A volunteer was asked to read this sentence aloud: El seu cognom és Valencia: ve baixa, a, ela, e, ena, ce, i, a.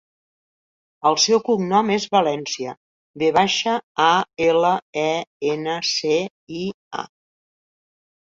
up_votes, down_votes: 3, 0